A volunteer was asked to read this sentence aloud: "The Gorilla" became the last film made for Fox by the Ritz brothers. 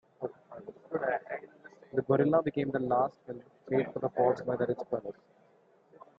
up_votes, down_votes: 0, 2